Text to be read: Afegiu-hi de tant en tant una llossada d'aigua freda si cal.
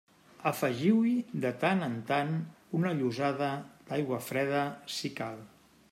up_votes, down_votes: 2, 1